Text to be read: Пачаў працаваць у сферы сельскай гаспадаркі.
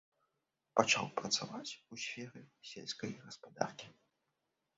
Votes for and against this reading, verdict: 0, 2, rejected